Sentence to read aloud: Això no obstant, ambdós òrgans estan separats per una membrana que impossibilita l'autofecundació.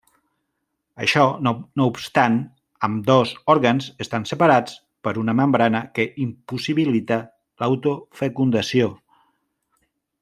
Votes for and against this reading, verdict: 0, 2, rejected